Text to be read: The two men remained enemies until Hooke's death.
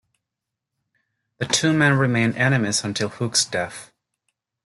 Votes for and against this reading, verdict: 3, 0, accepted